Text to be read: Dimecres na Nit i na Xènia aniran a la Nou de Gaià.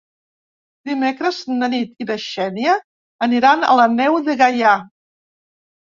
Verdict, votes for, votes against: rejected, 0, 2